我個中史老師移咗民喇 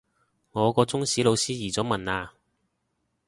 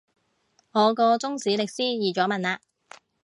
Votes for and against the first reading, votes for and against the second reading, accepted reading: 2, 0, 0, 2, first